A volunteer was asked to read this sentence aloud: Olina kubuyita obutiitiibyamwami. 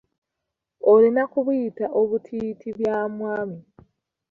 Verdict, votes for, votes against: rejected, 1, 2